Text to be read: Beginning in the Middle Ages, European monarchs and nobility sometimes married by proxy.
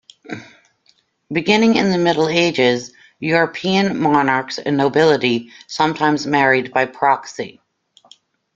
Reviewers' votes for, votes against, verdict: 2, 0, accepted